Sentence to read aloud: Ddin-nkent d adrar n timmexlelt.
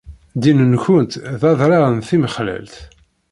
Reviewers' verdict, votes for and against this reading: rejected, 1, 2